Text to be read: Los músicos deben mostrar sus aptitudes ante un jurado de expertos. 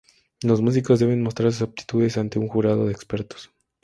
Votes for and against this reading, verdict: 2, 0, accepted